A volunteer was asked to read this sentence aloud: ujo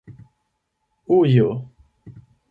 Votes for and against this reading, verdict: 8, 0, accepted